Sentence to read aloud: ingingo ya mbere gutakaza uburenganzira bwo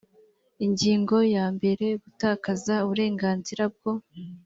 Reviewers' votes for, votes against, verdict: 2, 0, accepted